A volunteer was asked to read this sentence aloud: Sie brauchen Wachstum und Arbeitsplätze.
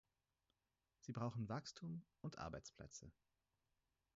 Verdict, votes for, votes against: rejected, 2, 4